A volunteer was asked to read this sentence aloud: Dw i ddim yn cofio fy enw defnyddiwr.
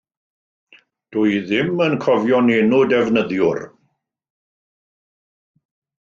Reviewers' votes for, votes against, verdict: 1, 2, rejected